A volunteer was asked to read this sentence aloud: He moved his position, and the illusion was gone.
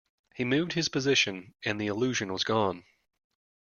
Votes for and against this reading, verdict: 2, 0, accepted